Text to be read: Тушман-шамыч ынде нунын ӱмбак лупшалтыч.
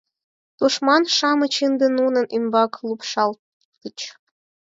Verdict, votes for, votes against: accepted, 6, 2